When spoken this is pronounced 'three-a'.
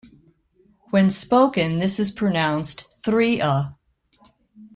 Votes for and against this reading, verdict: 2, 0, accepted